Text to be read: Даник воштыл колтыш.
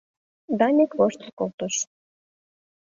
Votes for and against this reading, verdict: 2, 0, accepted